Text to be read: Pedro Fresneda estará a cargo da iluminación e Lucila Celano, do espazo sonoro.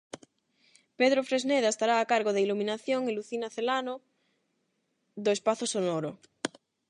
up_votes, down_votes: 4, 4